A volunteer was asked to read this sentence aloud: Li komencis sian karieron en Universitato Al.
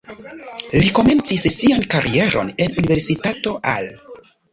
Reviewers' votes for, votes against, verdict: 2, 0, accepted